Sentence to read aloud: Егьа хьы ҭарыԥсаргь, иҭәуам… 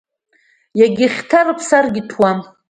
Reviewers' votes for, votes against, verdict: 2, 0, accepted